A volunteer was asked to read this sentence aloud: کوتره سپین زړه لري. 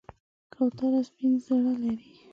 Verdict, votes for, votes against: rejected, 1, 2